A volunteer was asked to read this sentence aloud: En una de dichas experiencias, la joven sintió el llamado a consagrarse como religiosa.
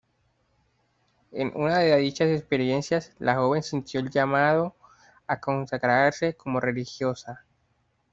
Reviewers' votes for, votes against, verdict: 1, 2, rejected